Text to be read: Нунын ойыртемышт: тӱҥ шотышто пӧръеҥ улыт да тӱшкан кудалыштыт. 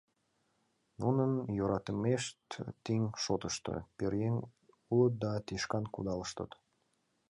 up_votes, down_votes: 0, 2